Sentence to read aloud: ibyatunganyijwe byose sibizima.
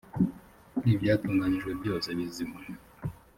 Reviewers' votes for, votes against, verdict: 1, 2, rejected